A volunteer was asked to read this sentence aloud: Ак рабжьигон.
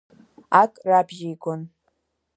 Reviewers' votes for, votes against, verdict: 4, 0, accepted